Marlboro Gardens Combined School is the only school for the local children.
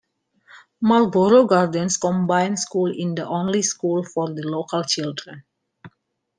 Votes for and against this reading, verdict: 0, 2, rejected